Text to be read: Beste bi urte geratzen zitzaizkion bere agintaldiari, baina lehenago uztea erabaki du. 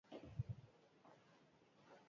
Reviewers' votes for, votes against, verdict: 0, 4, rejected